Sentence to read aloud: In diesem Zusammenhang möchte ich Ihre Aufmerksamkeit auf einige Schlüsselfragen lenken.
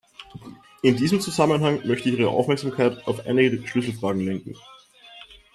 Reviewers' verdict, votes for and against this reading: accepted, 2, 0